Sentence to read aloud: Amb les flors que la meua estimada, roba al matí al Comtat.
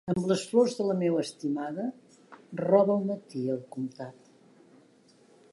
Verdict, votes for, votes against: accepted, 2, 1